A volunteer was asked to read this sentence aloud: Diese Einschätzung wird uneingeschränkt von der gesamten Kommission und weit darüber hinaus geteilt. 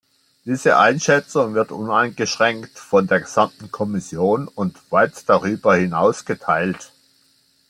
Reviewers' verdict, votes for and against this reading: accepted, 2, 0